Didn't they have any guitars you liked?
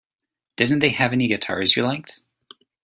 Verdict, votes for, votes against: accepted, 2, 0